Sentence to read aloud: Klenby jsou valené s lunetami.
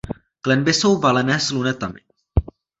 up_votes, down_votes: 2, 0